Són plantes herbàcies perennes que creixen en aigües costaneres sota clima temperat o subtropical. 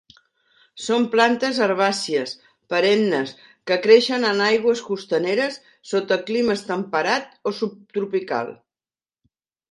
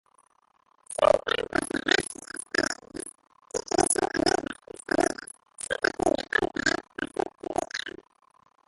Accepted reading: first